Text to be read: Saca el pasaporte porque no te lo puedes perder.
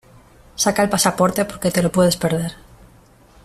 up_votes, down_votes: 1, 2